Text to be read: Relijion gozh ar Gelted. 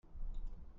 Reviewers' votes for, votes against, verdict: 0, 2, rejected